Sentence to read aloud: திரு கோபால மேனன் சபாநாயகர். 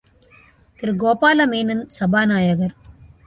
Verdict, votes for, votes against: accepted, 2, 0